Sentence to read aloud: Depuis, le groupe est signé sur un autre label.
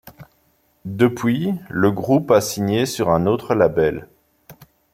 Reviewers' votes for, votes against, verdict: 0, 2, rejected